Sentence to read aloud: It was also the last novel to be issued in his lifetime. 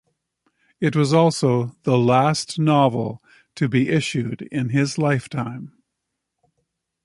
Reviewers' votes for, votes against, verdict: 2, 0, accepted